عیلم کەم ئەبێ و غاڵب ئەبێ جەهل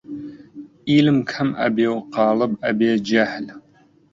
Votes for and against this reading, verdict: 2, 0, accepted